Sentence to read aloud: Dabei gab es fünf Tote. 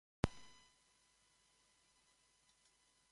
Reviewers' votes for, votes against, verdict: 0, 4, rejected